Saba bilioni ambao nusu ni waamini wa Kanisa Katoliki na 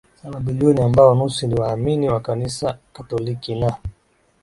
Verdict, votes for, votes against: accepted, 10, 1